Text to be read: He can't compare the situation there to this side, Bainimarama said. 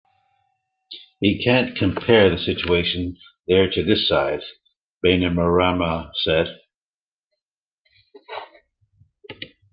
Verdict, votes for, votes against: accepted, 2, 0